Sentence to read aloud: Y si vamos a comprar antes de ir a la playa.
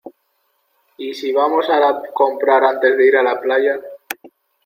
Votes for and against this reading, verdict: 2, 1, accepted